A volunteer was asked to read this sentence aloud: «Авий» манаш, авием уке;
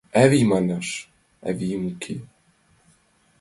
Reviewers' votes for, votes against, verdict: 2, 0, accepted